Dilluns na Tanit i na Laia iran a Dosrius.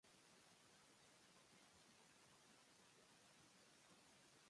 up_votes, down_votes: 0, 2